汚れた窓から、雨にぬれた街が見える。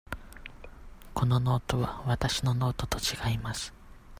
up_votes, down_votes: 0, 2